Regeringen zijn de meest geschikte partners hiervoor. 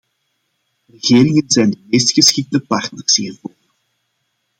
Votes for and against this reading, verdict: 1, 2, rejected